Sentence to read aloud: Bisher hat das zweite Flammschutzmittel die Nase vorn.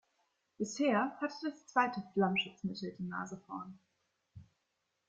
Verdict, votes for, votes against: rejected, 1, 2